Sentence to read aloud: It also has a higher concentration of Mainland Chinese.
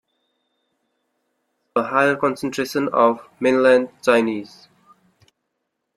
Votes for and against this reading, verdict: 1, 2, rejected